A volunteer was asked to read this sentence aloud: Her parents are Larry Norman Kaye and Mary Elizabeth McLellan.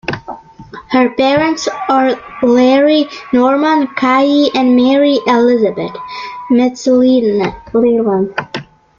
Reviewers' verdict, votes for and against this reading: accepted, 2, 0